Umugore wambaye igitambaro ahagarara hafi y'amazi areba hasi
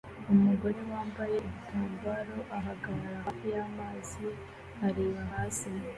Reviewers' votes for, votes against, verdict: 2, 0, accepted